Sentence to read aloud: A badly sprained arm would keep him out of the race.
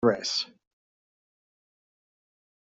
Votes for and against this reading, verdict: 0, 2, rejected